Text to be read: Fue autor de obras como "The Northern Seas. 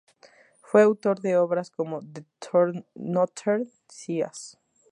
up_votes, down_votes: 0, 2